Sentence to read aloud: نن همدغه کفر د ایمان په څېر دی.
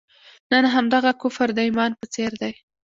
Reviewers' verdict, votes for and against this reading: accepted, 2, 0